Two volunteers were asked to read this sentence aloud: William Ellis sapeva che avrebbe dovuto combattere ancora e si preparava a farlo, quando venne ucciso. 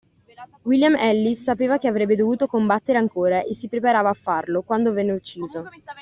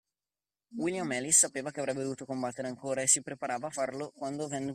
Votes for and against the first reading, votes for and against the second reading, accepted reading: 2, 0, 0, 2, first